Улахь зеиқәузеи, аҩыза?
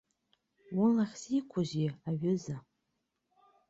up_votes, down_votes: 2, 0